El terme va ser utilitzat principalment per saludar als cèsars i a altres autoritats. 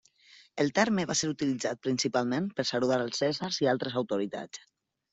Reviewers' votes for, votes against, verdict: 0, 2, rejected